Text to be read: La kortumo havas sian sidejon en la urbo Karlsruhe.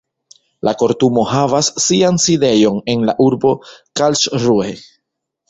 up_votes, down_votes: 1, 2